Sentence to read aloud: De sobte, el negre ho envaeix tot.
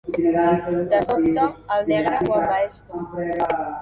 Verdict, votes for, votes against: rejected, 0, 2